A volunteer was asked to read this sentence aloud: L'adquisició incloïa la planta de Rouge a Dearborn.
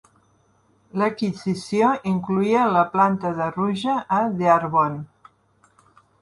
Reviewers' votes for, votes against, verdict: 2, 0, accepted